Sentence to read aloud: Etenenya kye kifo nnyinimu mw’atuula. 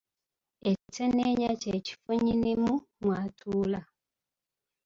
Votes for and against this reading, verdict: 2, 1, accepted